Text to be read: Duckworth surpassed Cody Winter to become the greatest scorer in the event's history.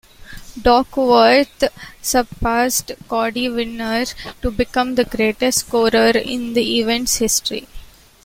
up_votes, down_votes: 0, 2